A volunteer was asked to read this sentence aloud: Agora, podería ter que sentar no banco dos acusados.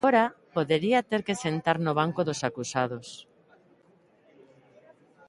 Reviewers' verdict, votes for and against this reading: accepted, 2, 0